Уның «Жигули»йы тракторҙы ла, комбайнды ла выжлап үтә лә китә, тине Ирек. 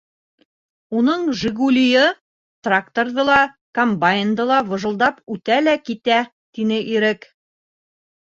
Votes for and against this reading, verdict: 2, 3, rejected